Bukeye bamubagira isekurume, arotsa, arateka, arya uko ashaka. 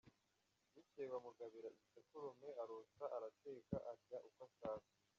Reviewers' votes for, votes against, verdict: 0, 2, rejected